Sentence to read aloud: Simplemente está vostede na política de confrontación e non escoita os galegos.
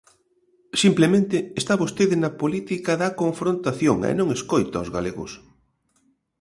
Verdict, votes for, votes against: rejected, 0, 2